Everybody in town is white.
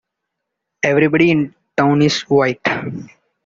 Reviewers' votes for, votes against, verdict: 2, 1, accepted